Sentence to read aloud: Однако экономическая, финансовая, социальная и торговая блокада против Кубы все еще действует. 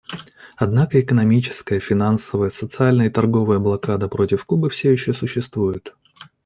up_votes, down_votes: 1, 2